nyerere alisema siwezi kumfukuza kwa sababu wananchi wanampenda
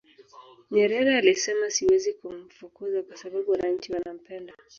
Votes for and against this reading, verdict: 0, 2, rejected